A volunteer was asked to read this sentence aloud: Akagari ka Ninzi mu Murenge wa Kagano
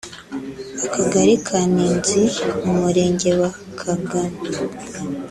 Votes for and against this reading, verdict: 1, 2, rejected